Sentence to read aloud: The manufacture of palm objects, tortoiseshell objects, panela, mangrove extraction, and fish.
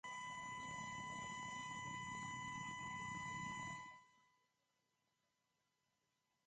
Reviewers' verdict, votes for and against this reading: rejected, 0, 2